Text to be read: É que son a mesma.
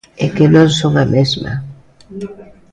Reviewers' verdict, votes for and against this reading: rejected, 0, 2